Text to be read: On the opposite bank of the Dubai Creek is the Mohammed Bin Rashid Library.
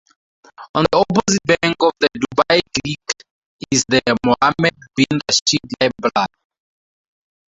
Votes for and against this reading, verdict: 0, 2, rejected